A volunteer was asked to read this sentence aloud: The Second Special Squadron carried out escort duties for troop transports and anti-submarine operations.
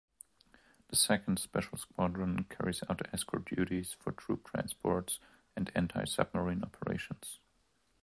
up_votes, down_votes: 0, 2